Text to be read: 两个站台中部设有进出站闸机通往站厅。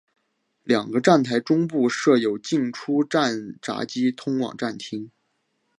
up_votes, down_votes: 1, 2